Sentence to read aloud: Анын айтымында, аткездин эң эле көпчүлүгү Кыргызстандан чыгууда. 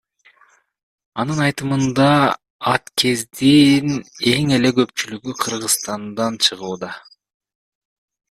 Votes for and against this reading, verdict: 1, 2, rejected